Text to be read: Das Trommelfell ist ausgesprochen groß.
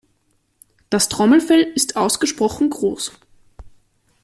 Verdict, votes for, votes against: accepted, 2, 0